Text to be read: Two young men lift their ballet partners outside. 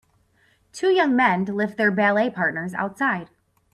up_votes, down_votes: 1, 2